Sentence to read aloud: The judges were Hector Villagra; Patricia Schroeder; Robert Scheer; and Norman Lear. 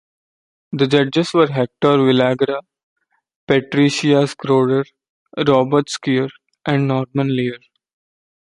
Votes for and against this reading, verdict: 2, 0, accepted